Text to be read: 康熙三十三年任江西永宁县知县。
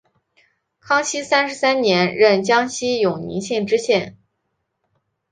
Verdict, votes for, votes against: accepted, 2, 1